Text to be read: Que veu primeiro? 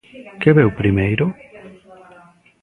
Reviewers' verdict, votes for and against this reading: rejected, 0, 2